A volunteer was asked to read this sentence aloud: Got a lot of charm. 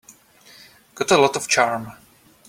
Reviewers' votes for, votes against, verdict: 2, 0, accepted